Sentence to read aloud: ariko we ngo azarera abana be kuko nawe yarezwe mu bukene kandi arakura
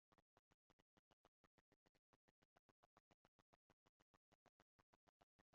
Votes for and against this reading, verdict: 1, 3, rejected